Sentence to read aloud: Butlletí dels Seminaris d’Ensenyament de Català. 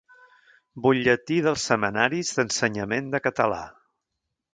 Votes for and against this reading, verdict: 1, 2, rejected